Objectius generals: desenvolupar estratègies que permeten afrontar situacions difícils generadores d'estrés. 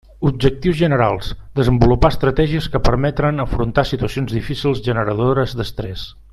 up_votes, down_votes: 0, 2